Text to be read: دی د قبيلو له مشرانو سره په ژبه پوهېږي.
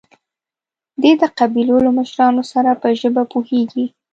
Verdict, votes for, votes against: accepted, 2, 0